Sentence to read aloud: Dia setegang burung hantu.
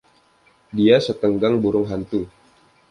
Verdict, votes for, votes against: accepted, 2, 0